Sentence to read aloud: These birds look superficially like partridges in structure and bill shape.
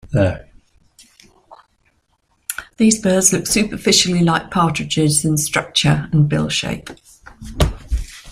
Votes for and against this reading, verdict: 1, 2, rejected